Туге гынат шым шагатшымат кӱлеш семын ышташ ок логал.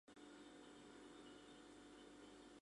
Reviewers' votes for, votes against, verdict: 0, 2, rejected